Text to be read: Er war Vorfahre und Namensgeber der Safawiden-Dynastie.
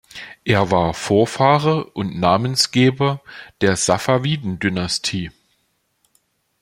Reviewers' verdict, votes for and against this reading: accepted, 3, 0